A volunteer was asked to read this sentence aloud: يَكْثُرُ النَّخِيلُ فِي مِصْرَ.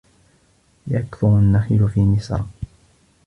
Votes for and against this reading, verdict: 2, 0, accepted